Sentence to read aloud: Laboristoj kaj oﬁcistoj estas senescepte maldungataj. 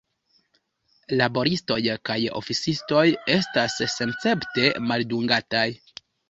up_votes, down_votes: 0, 2